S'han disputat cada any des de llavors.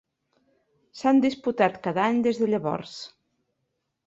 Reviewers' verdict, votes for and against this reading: accepted, 3, 0